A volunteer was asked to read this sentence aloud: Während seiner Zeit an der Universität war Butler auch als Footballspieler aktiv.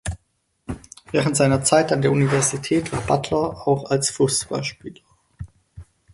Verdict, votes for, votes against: rejected, 0, 4